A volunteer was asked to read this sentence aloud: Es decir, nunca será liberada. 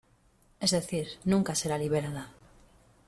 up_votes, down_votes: 2, 1